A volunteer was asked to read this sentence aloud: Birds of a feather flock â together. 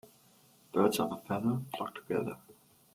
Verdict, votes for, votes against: rejected, 1, 2